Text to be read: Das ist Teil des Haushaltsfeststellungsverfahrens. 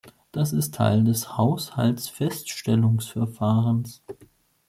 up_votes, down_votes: 2, 0